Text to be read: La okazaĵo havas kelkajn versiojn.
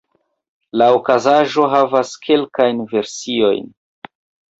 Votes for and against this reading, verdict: 2, 1, accepted